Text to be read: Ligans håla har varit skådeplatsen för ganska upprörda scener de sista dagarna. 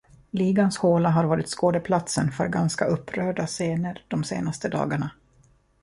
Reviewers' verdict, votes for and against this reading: rejected, 0, 2